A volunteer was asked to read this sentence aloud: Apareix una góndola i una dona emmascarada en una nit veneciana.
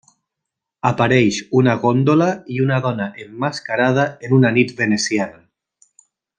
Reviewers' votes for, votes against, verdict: 3, 0, accepted